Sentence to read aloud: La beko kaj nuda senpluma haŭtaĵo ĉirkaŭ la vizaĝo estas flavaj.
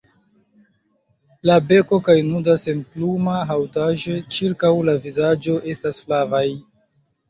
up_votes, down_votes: 2, 0